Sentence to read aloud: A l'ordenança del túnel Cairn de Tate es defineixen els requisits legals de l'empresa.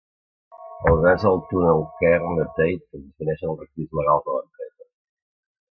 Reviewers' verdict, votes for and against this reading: rejected, 0, 2